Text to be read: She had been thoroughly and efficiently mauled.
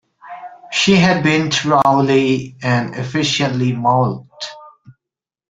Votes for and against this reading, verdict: 1, 2, rejected